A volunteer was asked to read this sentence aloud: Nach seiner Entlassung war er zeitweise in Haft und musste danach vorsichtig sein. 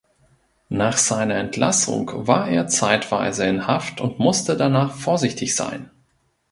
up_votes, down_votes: 2, 0